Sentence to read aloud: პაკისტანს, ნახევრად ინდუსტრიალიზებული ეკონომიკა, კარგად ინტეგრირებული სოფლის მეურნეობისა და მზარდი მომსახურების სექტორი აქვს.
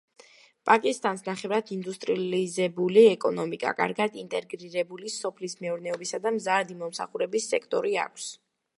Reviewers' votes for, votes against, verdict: 0, 2, rejected